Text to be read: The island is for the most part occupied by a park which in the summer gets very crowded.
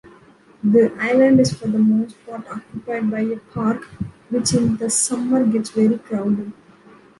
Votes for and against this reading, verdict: 2, 0, accepted